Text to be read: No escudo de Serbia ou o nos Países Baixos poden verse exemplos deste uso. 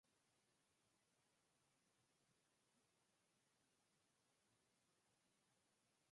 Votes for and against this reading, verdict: 0, 4, rejected